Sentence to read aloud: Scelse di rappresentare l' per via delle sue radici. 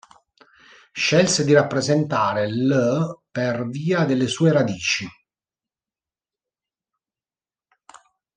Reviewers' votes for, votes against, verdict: 2, 0, accepted